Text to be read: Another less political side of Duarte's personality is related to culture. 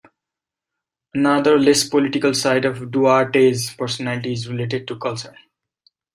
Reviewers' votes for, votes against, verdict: 0, 2, rejected